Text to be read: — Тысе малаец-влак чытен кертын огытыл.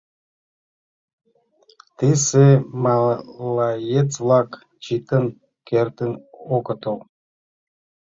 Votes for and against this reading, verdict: 0, 2, rejected